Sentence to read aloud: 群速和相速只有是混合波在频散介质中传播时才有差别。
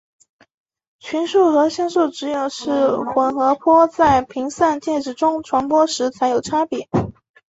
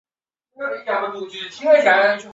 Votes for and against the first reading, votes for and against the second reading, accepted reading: 2, 1, 0, 2, first